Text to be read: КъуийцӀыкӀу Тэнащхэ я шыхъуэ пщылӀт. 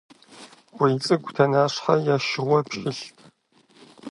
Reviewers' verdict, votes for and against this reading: rejected, 0, 2